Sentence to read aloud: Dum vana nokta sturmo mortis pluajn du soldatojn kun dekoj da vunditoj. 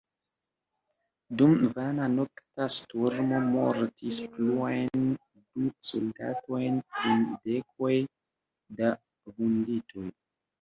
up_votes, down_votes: 0, 2